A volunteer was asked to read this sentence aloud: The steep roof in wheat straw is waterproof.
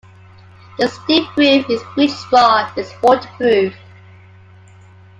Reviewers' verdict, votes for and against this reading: rejected, 0, 2